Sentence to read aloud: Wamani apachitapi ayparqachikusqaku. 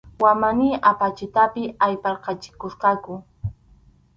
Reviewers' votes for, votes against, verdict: 2, 2, rejected